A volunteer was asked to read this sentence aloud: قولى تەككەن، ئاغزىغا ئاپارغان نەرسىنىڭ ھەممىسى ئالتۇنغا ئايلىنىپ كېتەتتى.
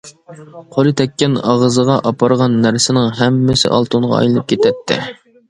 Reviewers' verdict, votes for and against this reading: accepted, 2, 0